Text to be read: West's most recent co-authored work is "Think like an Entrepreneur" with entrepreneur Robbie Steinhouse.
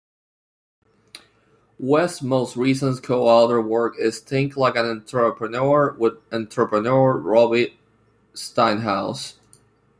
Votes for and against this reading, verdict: 0, 2, rejected